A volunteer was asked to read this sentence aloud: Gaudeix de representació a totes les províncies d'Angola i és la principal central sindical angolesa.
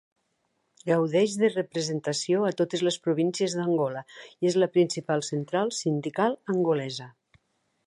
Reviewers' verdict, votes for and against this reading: accepted, 2, 0